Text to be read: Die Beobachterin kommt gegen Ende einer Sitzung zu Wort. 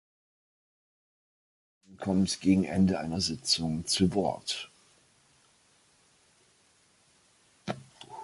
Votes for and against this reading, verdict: 0, 2, rejected